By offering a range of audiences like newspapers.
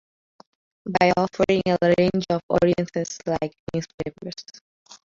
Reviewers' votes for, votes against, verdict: 0, 2, rejected